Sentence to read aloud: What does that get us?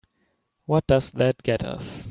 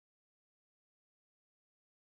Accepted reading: first